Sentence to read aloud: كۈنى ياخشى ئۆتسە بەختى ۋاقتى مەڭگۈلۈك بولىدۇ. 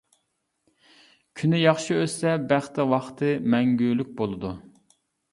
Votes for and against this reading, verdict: 2, 0, accepted